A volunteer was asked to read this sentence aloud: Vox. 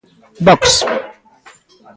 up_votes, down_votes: 2, 0